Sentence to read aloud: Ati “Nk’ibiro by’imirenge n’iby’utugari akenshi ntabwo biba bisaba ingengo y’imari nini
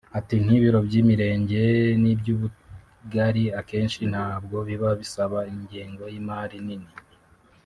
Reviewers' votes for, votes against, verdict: 0, 2, rejected